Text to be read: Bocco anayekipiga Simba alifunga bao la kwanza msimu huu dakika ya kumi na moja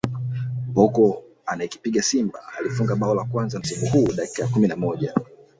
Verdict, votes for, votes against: rejected, 2, 3